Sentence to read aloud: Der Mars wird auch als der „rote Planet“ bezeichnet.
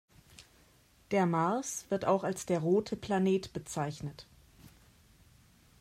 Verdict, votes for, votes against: accepted, 2, 0